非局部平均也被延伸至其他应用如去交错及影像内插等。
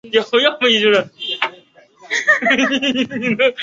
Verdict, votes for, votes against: rejected, 1, 6